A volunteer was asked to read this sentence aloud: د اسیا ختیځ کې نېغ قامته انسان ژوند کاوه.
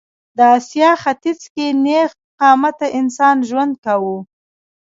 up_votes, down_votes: 1, 2